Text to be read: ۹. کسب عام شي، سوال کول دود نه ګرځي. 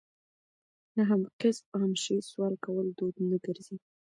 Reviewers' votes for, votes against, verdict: 0, 2, rejected